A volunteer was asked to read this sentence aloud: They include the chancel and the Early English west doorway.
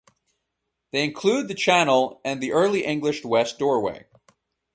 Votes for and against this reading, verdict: 0, 4, rejected